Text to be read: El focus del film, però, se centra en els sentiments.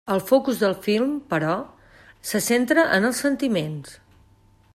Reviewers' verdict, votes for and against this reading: accepted, 3, 0